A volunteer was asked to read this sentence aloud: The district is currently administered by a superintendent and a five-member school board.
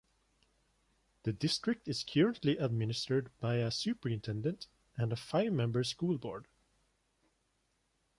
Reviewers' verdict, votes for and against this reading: accepted, 2, 1